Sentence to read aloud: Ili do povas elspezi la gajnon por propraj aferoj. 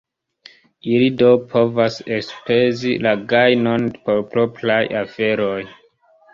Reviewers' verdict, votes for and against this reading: rejected, 1, 2